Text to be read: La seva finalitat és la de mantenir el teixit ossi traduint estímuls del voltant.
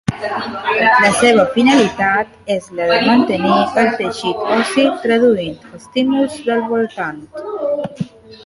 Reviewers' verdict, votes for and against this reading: accepted, 3, 1